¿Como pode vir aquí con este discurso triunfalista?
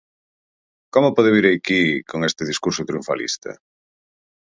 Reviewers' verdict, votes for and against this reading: accepted, 4, 0